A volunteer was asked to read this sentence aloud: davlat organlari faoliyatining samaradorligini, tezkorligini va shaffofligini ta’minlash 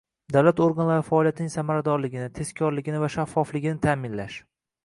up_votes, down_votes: 2, 0